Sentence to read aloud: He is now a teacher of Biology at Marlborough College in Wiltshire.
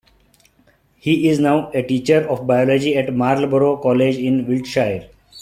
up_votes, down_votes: 2, 0